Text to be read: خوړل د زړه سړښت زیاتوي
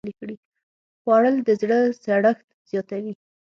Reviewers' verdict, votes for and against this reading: rejected, 3, 6